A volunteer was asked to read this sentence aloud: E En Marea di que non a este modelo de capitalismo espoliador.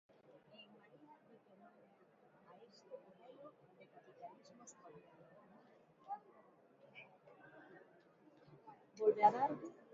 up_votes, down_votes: 0, 3